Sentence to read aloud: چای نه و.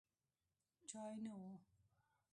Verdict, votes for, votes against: accepted, 2, 1